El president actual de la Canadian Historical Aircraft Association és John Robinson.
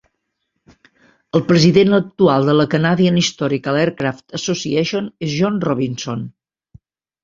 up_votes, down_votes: 2, 0